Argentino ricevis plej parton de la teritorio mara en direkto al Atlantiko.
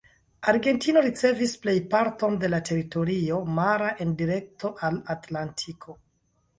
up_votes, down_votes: 3, 2